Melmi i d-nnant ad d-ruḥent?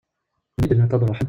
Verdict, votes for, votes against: rejected, 0, 2